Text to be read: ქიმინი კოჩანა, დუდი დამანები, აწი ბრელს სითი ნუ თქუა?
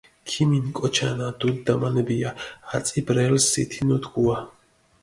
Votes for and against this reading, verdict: 0, 2, rejected